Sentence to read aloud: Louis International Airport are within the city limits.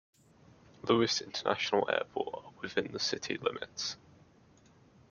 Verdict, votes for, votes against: accepted, 2, 0